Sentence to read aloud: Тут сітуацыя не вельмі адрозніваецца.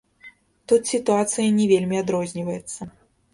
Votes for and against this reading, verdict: 1, 2, rejected